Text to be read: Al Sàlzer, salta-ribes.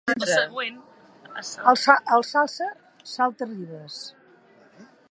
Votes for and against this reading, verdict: 1, 2, rejected